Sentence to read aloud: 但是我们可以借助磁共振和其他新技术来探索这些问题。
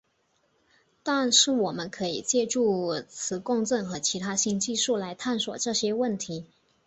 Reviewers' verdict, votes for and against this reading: accepted, 2, 0